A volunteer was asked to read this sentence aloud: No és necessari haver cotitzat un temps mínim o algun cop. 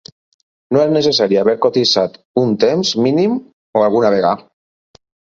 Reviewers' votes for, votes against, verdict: 2, 4, rejected